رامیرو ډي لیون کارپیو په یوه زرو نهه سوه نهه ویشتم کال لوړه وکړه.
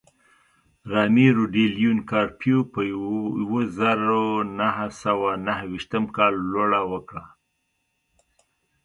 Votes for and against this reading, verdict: 1, 2, rejected